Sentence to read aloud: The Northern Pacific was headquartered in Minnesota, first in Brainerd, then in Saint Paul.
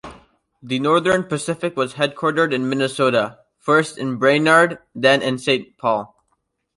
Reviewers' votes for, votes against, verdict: 2, 0, accepted